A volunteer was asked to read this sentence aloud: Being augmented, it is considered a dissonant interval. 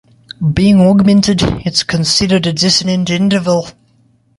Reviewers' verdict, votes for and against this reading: rejected, 0, 2